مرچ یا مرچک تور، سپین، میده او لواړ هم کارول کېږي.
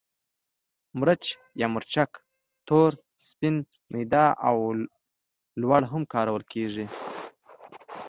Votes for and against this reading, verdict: 2, 0, accepted